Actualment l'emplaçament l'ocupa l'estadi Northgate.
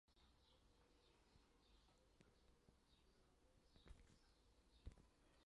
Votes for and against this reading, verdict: 0, 2, rejected